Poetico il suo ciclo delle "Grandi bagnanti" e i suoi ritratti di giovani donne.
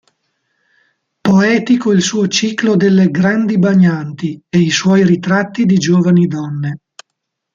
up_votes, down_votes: 2, 1